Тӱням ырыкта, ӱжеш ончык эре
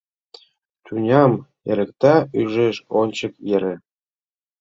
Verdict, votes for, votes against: rejected, 0, 2